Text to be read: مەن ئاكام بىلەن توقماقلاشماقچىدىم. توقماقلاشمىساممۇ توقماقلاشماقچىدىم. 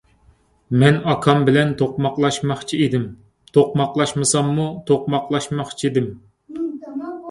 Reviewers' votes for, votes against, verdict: 2, 0, accepted